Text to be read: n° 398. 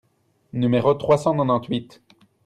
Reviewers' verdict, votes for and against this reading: rejected, 0, 2